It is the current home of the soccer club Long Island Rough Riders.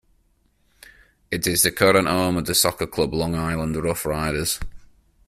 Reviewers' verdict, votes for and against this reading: rejected, 0, 2